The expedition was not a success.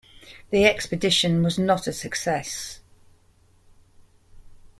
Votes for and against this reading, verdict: 2, 1, accepted